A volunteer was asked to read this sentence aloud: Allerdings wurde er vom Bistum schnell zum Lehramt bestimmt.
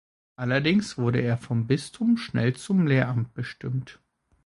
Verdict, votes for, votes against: accepted, 2, 0